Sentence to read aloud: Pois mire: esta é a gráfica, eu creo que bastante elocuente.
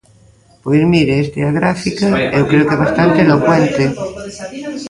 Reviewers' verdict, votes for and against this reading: rejected, 0, 2